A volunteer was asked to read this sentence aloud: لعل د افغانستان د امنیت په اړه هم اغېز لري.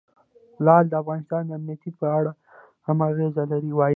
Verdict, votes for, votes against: accepted, 2, 0